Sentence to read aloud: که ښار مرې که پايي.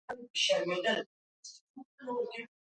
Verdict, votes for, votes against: rejected, 0, 3